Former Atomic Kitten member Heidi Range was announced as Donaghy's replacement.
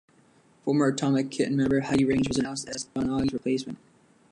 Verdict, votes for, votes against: rejected, 1, 2